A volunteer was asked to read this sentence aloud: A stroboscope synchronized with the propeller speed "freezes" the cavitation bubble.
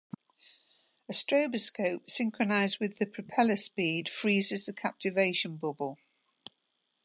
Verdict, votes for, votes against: rejected, 0, 2